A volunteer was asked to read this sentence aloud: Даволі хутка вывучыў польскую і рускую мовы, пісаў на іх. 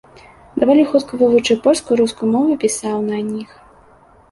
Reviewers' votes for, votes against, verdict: 0, 2, rejected